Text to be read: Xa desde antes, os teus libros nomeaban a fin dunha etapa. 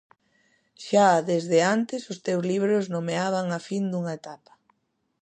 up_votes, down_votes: 2, 0